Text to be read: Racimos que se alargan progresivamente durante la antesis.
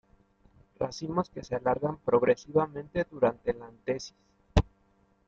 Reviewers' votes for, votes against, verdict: 2, 0, accepted